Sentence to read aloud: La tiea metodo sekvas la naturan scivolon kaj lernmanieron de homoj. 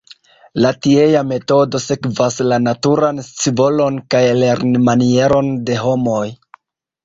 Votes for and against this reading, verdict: 0, 2, rejected